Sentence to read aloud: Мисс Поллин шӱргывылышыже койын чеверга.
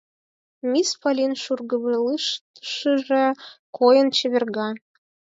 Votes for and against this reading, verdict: 2, 4, rejected